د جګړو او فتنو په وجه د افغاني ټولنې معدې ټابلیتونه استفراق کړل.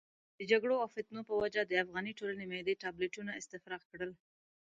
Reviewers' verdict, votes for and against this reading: accepted, 2, 0